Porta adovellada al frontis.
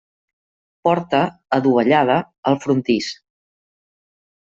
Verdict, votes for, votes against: rejected, 0, 2